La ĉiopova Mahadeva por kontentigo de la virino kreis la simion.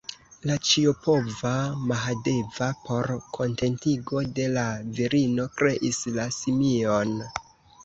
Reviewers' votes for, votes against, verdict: 1, 2, rejected